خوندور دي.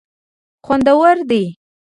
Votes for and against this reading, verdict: 1, 2, rejected